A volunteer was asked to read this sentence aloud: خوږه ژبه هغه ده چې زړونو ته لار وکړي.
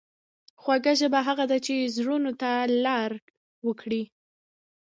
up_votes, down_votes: 2, 1